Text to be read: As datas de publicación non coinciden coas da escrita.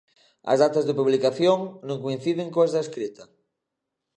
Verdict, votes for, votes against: accepted, 2, 0